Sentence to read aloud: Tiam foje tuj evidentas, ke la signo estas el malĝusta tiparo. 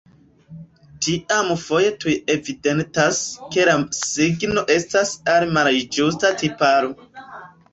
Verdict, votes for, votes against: rejected, 1, 2